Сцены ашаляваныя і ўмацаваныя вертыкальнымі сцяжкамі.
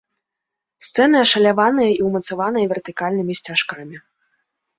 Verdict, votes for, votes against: rejected, 0, 2